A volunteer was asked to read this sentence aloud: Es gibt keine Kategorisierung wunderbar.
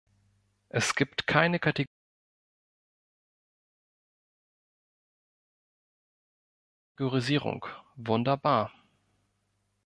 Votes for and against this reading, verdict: 1, 2, rejected